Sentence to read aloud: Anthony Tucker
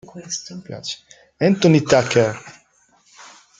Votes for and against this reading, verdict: 1, 2, rejected